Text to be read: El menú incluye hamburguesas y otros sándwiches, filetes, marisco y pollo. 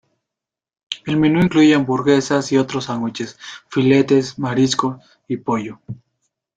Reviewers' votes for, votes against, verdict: 2, 0, accepted